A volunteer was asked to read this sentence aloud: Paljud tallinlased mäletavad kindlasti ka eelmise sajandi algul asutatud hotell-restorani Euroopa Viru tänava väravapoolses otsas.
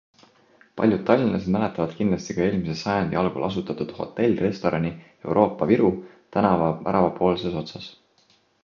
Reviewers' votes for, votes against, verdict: 2, 0, accepted